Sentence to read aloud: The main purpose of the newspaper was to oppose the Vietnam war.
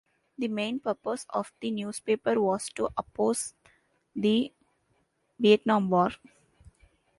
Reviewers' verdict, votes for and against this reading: accepted, 2, 0